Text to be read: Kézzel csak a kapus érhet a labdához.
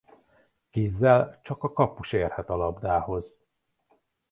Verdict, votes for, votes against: accepted, 2, 0